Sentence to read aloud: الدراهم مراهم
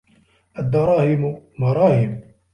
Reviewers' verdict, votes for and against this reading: accepted, 2, 0